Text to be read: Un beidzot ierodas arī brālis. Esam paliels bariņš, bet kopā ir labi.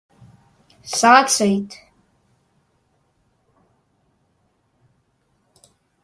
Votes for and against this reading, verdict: 0, 2, rejected